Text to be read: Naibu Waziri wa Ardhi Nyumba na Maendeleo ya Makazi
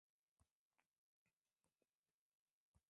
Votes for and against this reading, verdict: 0, 2, rejected